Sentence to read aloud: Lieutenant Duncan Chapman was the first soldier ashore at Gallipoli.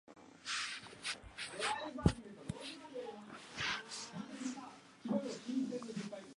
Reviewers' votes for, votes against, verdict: 0, 2, rejected